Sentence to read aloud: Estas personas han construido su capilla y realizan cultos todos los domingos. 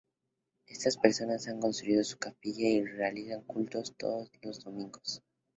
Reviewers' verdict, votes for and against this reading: rejected, 0, 2